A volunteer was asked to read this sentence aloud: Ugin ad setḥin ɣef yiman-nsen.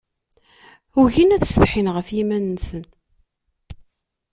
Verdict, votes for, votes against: accepted, 2, 0